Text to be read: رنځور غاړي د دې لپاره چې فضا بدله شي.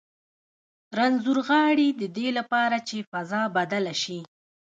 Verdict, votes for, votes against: rejected, 1, 2